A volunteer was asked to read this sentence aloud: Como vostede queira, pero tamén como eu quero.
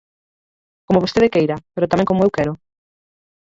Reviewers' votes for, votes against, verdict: 2, 4, rejected